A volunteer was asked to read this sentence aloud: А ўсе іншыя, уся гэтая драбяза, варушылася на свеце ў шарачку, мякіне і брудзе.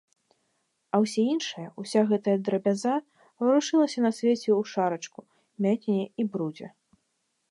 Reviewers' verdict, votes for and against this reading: accepted, 2, 1